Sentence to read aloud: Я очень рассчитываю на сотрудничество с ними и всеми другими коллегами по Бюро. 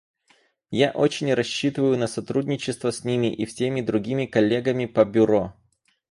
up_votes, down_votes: 4, 0